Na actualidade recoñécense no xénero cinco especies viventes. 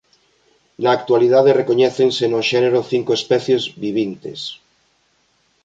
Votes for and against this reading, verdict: 1, 2, rejected